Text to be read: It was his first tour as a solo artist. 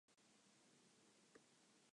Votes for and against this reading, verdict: 0, 2, rejected